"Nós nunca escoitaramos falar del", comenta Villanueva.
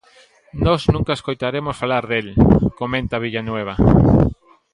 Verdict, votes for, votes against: accepted, 2, 1